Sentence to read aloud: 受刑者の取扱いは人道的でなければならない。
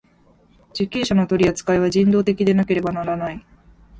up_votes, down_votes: 2, 0